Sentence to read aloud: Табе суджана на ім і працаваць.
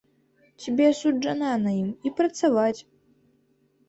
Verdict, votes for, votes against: rejected, 0, 2